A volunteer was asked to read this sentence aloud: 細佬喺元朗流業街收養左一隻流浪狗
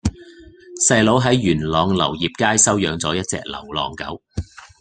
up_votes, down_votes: 2, 0